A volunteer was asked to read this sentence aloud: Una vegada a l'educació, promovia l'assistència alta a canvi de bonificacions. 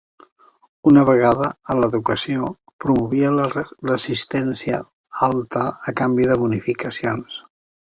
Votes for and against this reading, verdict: 1, 4, rejected